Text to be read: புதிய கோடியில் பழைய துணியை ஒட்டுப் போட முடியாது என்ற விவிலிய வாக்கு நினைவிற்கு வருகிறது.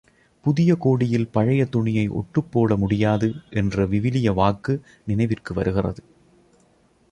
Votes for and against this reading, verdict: 2, 0, accepted